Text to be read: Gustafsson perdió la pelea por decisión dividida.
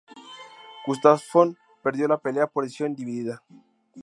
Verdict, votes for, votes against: rejected, 0, 2